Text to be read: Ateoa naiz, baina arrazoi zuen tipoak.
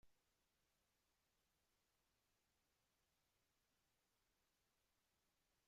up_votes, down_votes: 0, 2